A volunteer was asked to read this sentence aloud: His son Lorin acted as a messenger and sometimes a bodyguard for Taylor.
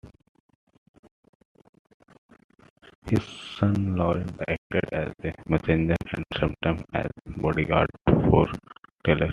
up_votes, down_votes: 2, 1